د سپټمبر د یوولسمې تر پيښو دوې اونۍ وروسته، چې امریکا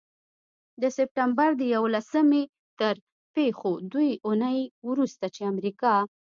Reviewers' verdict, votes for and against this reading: accepted, 2, 0